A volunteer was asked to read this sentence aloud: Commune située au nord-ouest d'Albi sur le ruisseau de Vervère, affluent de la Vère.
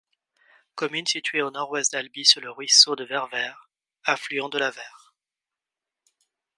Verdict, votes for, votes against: accepted, 2, 1